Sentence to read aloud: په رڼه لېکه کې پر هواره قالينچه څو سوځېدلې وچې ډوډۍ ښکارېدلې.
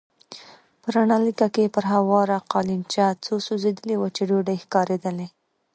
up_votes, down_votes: 2, 1